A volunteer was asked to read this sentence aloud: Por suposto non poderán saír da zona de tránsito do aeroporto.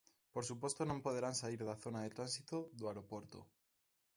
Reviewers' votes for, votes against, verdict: 2, 0, accepted